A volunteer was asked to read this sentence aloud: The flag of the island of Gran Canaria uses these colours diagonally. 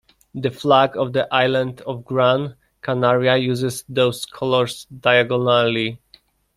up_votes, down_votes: 1, 2